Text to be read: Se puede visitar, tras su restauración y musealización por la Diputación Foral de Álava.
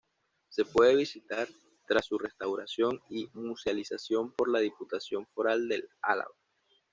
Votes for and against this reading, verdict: 2, 1, accepted